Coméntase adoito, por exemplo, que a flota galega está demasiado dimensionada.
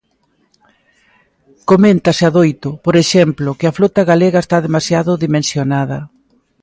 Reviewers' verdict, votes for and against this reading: accepted, 2, 0